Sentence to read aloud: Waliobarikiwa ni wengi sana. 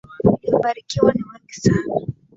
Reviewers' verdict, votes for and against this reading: accepted, 2, 0